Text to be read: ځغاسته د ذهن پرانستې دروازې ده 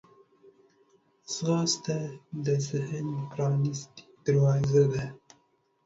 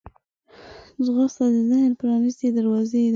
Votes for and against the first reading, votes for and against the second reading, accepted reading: 2, 0, 2, 3, first